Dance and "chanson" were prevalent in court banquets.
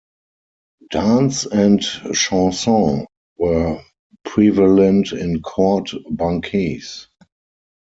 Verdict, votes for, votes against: rejected, 0, 4